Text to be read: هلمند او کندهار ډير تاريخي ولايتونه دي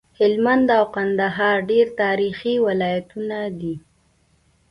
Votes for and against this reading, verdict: 2, 0, accepted